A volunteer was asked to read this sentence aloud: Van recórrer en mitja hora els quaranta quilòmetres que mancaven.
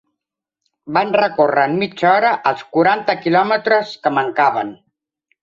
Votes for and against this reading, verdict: 3, 0, accepted